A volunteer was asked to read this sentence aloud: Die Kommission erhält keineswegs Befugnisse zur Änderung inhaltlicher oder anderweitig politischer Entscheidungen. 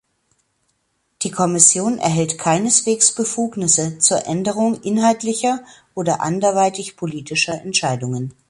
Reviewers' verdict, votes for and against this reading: accepted, 2, 0